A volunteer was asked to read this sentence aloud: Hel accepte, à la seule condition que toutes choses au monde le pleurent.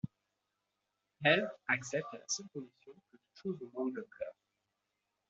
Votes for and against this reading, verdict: 0, 2, rejected